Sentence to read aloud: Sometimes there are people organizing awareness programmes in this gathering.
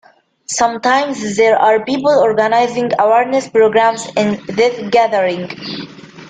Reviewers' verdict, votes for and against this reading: accepted, 2, 0